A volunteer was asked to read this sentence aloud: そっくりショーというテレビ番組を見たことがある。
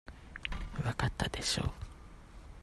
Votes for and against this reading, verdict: 0, 2, rejected